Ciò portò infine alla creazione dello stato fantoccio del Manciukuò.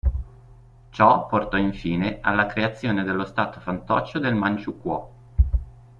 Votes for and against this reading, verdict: 2, 0, accepted